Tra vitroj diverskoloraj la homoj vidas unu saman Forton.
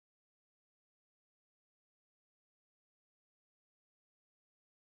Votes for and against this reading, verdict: 1, 2, rejected